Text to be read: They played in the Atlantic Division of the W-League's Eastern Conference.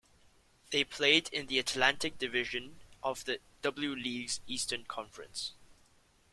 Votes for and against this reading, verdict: 1, 2, rejected